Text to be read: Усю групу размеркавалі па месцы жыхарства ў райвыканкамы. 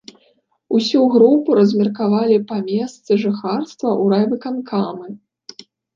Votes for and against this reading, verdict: 2, 0, accepted